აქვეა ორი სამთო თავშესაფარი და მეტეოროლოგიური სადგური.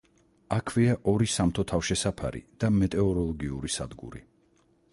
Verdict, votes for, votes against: rejected, 2, 4